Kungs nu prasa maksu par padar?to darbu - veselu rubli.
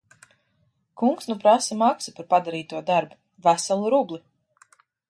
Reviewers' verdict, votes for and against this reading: rejected, 1, 2